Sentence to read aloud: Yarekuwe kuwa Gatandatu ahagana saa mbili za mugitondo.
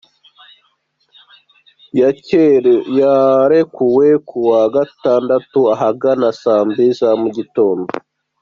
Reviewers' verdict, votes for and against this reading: rejected, 0, 2